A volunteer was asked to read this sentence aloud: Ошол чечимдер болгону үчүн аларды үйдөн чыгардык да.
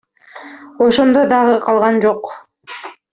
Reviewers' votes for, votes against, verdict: 0, 2, rejected